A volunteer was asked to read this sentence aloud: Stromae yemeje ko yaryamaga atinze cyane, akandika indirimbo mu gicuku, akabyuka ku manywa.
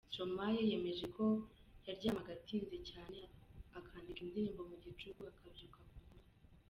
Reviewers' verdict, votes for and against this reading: accepted, 2, 0